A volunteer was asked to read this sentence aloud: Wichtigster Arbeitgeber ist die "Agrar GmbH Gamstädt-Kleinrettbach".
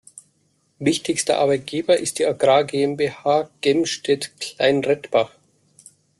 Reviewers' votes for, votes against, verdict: 0, 2, rejected